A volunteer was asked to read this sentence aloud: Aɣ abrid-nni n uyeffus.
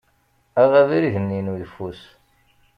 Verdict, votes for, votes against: accepted, 2, 0